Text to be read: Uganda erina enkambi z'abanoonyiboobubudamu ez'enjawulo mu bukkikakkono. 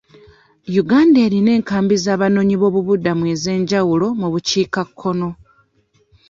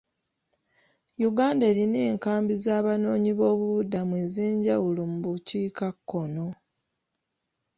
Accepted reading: second